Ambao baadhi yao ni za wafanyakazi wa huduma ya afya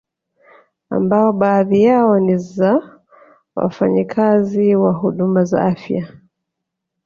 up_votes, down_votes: 0, 2